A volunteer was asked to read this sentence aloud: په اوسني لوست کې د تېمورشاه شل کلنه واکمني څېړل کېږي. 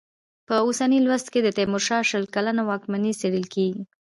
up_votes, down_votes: 2, 0